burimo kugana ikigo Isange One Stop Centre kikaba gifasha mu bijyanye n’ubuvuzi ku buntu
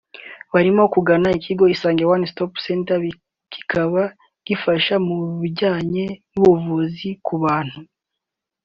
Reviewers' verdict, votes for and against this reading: rejected, 1, 3